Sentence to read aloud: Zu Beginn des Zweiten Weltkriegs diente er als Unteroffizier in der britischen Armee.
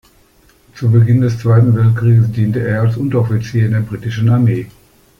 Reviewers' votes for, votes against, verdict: 1, 2, rejected